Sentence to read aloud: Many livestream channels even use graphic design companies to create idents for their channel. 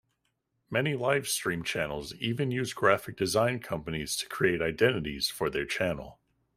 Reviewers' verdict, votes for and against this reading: rejected, 0, 2